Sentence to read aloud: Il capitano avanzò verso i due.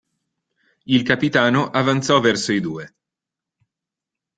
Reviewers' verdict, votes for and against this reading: accepted, 2, 0